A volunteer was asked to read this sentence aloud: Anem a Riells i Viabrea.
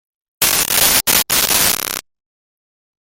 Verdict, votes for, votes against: rejected, 1, 2